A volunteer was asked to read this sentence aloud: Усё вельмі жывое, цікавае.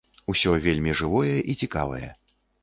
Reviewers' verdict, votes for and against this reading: rejected, 0, 2